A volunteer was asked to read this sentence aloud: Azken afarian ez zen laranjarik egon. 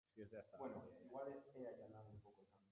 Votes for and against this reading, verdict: 0, 2, rejected